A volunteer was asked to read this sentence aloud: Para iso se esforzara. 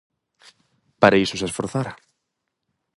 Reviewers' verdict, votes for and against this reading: accepted, 4, 0